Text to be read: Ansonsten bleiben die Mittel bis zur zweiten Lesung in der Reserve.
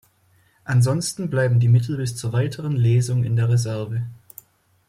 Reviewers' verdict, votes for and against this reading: rejected, 1, 2